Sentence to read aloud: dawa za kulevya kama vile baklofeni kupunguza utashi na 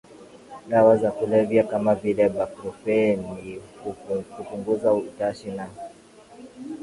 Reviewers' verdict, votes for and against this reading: accepted, 3, 2